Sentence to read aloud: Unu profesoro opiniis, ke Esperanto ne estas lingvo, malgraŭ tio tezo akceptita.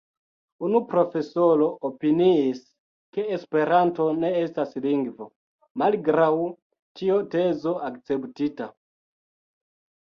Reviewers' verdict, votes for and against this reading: accepted, 2, 0